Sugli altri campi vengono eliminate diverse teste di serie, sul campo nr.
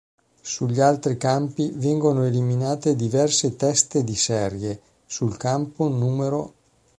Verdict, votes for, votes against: rejected, 0, 2